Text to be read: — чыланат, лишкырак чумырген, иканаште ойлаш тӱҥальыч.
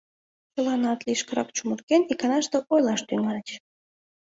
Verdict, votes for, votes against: accepted, 2, 0